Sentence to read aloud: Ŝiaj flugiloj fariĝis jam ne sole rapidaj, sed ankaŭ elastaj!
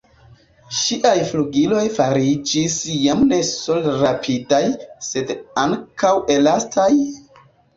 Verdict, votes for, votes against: rejected, 1, 2